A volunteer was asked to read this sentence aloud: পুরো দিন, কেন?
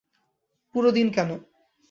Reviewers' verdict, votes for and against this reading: rejected, 0, 2